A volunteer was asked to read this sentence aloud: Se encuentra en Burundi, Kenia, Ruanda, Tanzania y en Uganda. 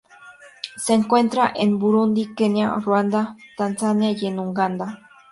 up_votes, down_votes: 2, 0